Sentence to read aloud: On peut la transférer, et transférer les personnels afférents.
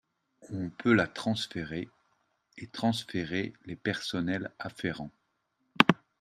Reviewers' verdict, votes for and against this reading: accepted, 2, 0